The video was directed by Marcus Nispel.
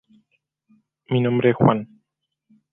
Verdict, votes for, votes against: rejected, 0, 2